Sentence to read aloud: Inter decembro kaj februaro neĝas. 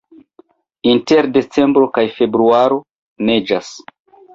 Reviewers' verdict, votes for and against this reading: accepted, 2, 0